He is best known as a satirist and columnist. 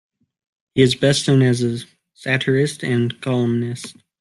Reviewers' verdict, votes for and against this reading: accepted, 2, 1